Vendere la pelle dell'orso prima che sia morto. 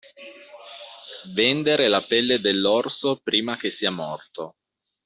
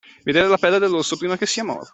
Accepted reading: first